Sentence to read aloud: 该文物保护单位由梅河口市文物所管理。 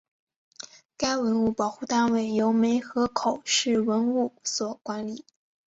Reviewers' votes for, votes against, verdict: 5, 0, accepted